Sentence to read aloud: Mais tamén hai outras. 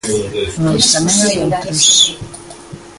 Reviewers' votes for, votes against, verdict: 0, 2, rejected